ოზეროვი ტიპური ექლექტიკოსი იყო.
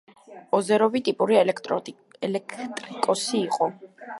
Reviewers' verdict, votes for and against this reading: rejected, 1, 2